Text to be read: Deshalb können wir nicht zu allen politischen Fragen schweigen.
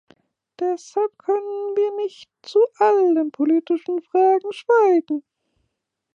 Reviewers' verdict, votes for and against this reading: rejected, 1, 2